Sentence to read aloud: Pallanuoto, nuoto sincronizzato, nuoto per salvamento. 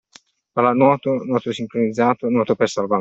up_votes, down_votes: 0, 2